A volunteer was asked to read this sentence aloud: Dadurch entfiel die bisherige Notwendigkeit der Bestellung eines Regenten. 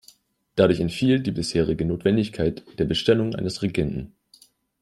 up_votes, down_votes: 2, 0